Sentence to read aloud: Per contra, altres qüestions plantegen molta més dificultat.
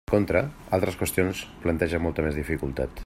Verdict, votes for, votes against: rejected, 1, 2